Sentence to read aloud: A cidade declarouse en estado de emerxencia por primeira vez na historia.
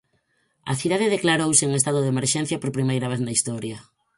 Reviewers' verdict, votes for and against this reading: accepted, 4, 0